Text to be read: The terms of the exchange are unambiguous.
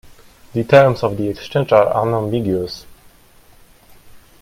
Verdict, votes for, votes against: accepted, 2, 1